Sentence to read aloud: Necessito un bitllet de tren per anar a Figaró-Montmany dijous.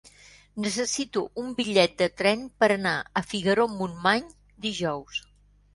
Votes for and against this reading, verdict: 2, 0, accepted